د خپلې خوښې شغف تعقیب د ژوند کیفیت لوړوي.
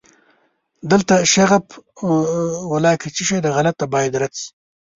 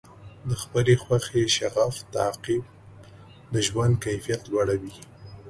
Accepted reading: second